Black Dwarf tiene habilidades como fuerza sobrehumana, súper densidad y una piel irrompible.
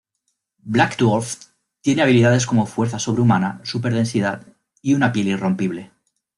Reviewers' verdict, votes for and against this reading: rejected, 1, 2